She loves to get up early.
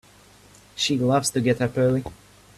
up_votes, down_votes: 2, 0